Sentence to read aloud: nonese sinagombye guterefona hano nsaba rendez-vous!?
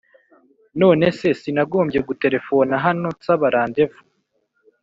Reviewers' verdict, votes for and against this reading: accepted, 2, 0